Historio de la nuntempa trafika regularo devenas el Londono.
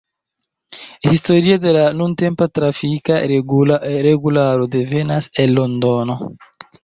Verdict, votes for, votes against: rejected, 0, 2